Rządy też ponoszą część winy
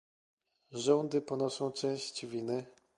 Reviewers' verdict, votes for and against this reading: rejected, 0, 2